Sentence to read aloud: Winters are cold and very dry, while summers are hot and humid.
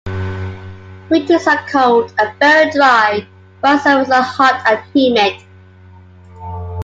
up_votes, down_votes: 2, 0